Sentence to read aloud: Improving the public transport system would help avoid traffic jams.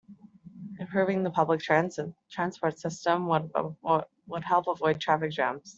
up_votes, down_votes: 0, 2